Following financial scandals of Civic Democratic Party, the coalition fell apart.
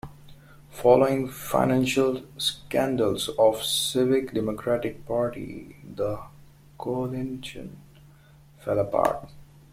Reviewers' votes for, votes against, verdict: 0, 2, rejected